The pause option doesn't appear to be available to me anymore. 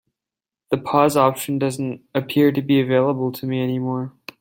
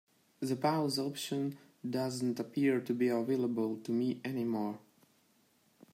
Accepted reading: first